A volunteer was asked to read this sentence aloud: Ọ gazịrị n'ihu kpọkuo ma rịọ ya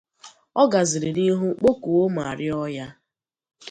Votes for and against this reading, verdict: 2, 0, accepted